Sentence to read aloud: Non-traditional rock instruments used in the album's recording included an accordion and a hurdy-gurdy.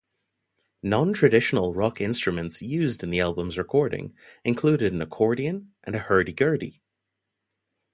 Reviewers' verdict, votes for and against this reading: accepted, 2, 0